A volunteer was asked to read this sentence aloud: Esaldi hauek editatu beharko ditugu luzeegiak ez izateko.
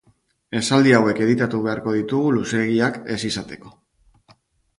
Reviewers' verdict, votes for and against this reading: accepted, 2, 0